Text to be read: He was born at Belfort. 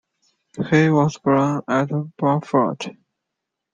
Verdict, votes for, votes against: rejected, 0, 2